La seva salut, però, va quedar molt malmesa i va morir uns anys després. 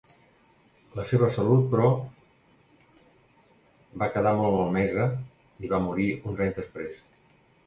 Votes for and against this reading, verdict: 2, 0, accepted